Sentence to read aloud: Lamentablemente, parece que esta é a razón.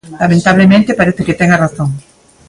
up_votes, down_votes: 0, 2